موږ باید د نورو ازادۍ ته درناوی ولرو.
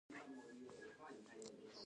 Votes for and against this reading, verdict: 0, 2, rejected